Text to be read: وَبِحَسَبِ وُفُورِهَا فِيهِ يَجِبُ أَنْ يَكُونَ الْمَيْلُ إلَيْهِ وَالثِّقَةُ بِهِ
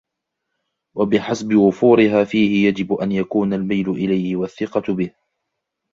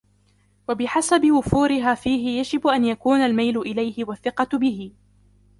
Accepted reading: first